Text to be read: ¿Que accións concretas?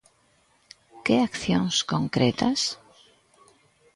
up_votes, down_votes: 2, 0